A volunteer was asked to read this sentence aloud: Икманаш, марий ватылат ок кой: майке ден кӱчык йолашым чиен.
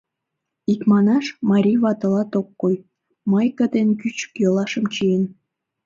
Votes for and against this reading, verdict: 2, 0, accepted